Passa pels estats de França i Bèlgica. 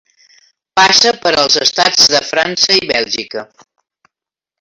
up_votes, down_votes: 0, 2